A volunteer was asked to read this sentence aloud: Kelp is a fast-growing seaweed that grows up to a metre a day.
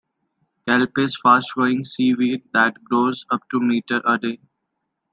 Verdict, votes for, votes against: accepted, 2, 1